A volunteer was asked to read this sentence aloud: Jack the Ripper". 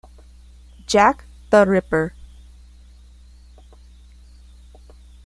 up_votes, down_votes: 2, 0